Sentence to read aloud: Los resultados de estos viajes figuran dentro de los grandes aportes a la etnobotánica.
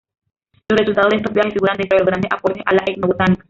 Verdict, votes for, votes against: rejected, 0, 2